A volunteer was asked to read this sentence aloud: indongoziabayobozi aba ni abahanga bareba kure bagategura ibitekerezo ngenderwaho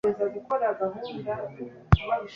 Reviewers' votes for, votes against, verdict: 1, 2, rejected